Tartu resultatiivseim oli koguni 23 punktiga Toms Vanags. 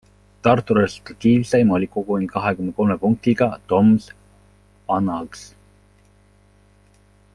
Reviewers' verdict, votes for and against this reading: rejected, 0, 2